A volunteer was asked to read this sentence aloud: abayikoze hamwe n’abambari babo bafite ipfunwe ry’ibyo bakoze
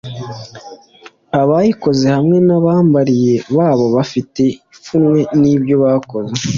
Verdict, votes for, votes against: accepted, 2, 0